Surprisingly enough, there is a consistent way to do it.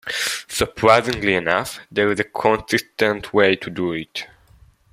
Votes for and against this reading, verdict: 2, 1, accepted